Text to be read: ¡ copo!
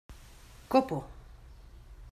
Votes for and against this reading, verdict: 2, 0, accepted